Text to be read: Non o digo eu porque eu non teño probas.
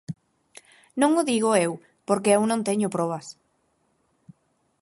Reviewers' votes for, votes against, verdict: 4, 0, accepted